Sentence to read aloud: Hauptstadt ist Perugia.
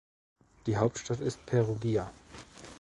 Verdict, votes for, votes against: rejected, 0, 2